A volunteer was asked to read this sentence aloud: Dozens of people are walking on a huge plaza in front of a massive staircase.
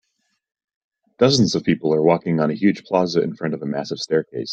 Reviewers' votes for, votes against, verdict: 2, 0, accepted